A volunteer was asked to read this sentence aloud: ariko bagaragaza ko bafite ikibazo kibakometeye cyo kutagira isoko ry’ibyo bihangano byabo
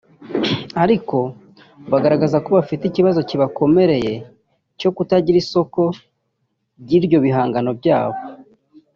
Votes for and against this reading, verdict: 2, 0, accepted